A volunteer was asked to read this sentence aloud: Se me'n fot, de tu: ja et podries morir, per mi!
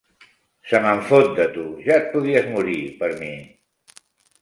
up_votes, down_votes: 2, 0